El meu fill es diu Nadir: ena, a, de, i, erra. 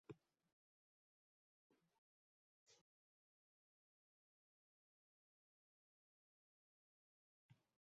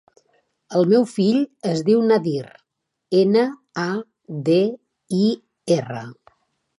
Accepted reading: second